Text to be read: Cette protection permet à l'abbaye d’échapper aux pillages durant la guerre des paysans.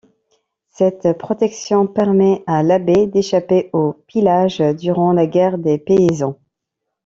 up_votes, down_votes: 1, 2